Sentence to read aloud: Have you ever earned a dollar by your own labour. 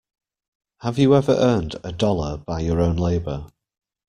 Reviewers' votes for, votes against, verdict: 3, 0, accepted